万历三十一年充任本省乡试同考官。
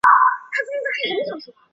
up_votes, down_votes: 0, 2